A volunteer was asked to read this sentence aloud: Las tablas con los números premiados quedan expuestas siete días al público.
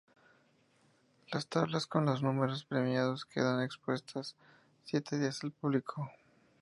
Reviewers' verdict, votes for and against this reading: accepted, 2, 0